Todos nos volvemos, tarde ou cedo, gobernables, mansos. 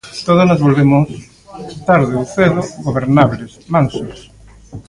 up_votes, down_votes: 0, 2